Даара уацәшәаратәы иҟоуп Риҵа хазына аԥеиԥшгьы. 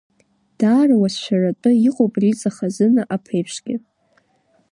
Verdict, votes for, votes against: rejected, 1, 2